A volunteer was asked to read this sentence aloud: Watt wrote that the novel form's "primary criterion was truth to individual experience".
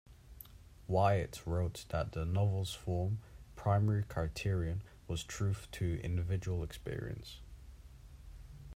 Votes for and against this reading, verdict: 1, 2, rejected